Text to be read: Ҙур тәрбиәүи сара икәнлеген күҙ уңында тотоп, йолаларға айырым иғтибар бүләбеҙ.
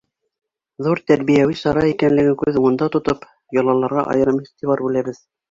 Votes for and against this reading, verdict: 2, 1, accepted